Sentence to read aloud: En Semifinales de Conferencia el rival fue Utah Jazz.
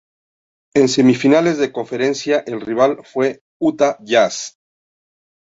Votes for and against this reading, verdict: 0, 2, rejected